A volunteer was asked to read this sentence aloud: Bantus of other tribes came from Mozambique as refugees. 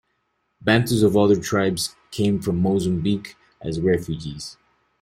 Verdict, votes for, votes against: accepted, 2, 0